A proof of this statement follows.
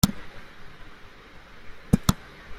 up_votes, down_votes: 1, 2